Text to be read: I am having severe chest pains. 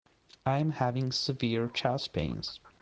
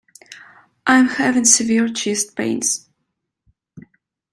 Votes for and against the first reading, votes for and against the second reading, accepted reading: 0, 2, 2, 1, second